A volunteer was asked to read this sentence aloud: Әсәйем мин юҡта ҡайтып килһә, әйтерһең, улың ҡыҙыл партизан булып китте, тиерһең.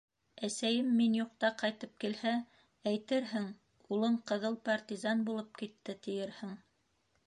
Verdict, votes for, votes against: accepted, 2, 0